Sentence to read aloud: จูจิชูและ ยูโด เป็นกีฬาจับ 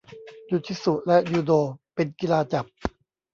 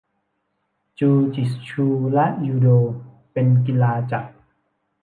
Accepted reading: second